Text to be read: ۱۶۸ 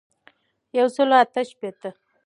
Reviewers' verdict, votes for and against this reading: rejected, 0, 2